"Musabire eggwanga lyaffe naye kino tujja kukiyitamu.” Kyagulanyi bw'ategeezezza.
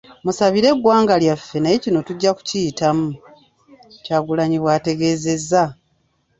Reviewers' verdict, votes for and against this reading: accepted, 2, 1